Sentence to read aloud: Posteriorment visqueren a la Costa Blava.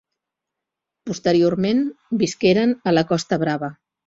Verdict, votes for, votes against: rejected, 1, 2